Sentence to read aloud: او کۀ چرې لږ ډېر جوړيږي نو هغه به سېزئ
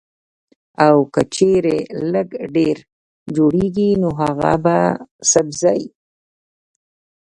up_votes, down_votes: 1, 2